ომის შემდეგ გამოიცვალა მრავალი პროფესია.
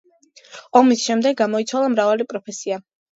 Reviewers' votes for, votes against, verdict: 2, 0, accepted